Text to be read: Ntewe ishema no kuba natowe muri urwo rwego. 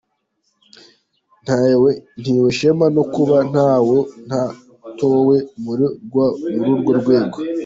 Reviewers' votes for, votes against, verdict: 0, 2, rejected